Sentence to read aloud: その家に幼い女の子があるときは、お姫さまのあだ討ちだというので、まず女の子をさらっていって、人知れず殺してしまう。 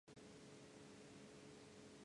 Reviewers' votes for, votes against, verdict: 1, 7, rejected